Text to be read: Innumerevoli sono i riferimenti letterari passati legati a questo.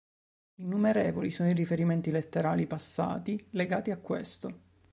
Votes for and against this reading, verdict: 1, 2, rejected